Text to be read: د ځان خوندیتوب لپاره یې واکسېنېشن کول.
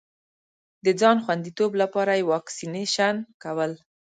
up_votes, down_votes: 2, 0